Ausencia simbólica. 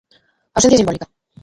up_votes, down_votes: 0, 2